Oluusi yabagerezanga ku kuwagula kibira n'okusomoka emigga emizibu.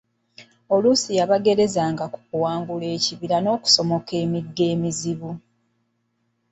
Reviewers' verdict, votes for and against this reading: accepted, 2, 1